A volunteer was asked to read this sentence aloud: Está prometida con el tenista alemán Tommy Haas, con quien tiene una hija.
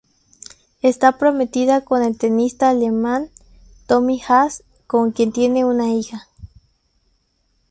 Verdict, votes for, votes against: accepted, 2, 0